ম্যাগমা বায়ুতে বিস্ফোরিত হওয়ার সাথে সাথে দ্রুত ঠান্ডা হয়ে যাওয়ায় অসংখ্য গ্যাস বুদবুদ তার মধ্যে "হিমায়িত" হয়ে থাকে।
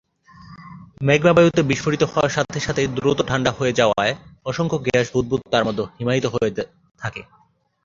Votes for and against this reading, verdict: 2, 3, rejected